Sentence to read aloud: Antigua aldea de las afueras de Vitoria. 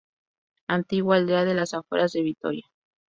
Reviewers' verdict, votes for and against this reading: accepted, 2, 0